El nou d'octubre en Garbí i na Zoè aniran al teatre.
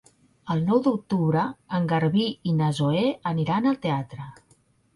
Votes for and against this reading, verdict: 3, 0, accepted